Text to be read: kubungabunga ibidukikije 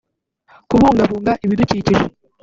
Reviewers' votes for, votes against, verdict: 3, 0, accepted